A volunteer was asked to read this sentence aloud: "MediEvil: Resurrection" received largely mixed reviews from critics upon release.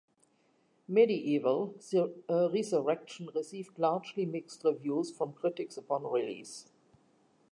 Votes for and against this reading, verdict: 1, 2, rejected